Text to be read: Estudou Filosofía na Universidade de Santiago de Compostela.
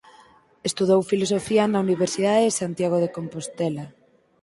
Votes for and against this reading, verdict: 4, 0, accepted